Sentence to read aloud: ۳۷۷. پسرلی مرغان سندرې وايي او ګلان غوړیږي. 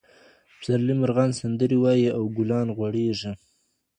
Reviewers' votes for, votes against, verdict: 0, 2, rejected